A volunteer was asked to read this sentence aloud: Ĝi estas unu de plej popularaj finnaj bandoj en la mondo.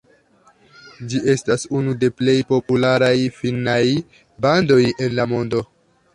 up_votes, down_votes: 2, 1